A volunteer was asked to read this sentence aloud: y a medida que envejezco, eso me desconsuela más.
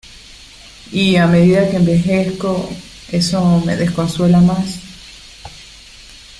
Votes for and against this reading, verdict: 2, 0, accepted